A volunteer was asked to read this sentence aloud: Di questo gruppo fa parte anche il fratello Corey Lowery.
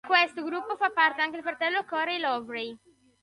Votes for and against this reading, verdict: 0, 2, rejected